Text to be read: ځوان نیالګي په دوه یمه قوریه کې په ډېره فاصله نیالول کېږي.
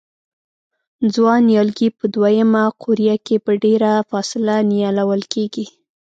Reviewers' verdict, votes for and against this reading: accepted, 2, 0